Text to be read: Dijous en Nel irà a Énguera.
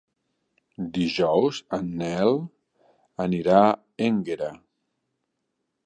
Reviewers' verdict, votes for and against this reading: rejected, 0, 2